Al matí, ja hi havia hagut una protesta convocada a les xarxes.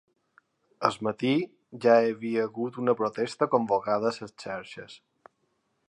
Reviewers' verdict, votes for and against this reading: accepted, 2, 0